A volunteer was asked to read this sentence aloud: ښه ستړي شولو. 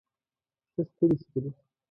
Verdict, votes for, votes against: rejected, 0, 2